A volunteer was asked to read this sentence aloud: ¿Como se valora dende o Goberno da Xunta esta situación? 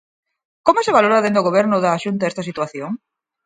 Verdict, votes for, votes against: accepted, 4, 0